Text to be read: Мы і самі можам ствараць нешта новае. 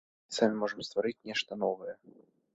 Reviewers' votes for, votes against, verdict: 1, 3, rejected